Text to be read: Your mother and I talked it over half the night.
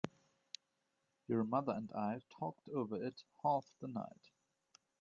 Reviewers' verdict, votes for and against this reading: rejected, 0, 2